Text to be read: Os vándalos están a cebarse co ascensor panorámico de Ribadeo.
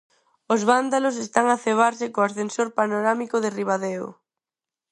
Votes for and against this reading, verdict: 4, 0, accepted